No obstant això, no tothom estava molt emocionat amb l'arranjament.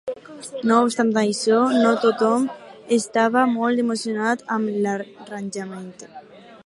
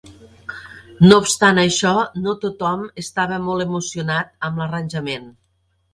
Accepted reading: second